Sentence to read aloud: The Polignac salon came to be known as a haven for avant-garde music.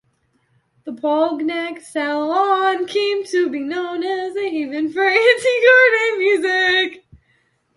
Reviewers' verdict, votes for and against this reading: rejected, 0, 2